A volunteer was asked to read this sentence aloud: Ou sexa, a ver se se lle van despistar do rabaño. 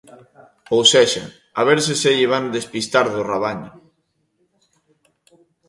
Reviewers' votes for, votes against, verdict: 2, 0, accepted